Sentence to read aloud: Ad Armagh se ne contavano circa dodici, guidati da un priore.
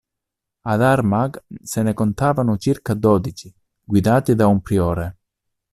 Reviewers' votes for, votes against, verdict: 2, 0, accepted